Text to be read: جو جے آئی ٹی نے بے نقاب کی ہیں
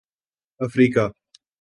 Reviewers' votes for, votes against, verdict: 0, 2, rejected